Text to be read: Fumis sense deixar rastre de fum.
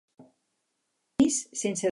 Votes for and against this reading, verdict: 0, 4, rejected